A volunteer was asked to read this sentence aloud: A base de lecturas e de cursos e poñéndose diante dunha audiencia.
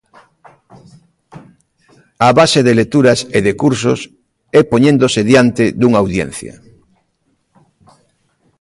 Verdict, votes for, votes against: rejected, 1, 2